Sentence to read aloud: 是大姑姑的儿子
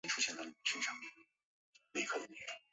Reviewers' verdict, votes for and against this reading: rejected, 0, 2